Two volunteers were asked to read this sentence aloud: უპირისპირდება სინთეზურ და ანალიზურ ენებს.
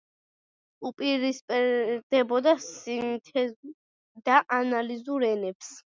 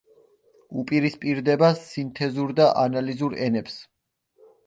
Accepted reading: second